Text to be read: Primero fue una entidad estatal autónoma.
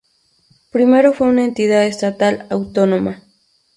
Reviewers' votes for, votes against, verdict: 2, 0, accepted